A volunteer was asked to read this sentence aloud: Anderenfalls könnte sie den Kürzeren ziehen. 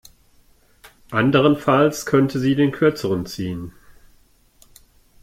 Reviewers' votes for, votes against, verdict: 2, 0, accepted